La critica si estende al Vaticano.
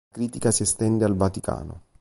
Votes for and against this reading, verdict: 1, 2, rejected